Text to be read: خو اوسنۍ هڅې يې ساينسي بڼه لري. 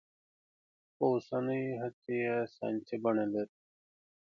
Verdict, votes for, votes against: accepted, 2, 1